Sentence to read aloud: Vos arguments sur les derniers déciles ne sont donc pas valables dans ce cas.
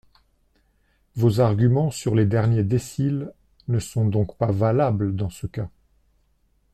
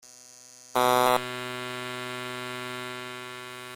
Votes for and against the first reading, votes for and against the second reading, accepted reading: 2, 1, 0, 2, first